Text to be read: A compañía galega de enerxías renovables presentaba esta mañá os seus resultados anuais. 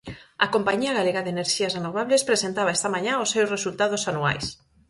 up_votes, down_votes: 4, 0